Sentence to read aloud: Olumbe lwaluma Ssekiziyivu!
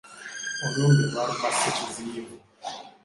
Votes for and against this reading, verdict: 2, 1, accepted